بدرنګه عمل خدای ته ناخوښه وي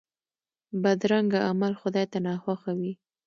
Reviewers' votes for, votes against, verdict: 2, 0, accepted